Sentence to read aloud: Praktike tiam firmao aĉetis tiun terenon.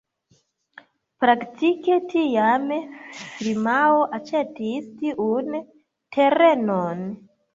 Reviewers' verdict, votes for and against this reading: rejected, 0, 2